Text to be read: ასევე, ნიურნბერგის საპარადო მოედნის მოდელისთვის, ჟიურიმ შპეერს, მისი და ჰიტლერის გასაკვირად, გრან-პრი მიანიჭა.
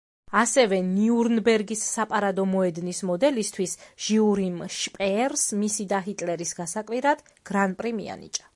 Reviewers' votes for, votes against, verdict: 2, 0, accepted